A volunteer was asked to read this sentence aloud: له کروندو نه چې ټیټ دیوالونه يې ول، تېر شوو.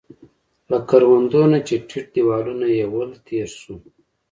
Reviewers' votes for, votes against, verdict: 2, 1, accepted